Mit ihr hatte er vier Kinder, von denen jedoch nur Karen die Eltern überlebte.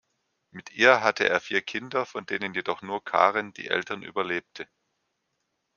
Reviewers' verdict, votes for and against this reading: accepted, 2, 0